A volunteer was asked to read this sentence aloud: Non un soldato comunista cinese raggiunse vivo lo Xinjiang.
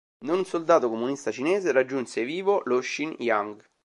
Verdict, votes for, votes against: rejected, 0, 2